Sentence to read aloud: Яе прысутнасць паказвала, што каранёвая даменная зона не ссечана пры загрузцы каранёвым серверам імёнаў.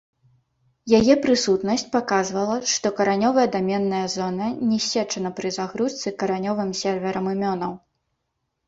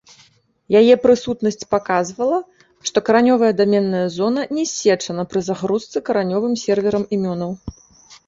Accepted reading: second